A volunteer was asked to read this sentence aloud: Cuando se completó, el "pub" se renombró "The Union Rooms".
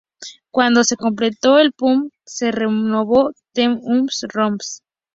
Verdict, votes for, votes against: rejected, 0, 2